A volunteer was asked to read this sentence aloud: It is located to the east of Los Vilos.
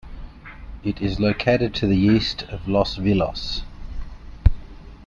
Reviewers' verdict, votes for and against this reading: accepted, 2, 0